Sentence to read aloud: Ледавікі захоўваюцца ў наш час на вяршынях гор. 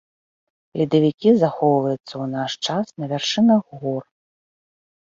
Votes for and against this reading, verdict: 0, 2, rejected